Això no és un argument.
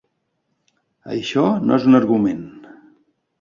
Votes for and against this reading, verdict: 3, 0, accepted